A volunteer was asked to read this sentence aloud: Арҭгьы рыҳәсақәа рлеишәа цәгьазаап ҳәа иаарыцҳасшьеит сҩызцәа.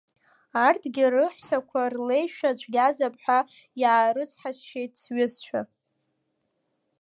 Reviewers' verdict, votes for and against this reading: rejected, 1, 2